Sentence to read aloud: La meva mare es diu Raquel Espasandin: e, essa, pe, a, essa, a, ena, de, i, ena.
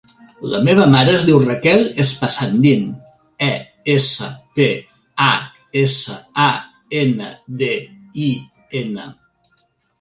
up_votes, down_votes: 1, 2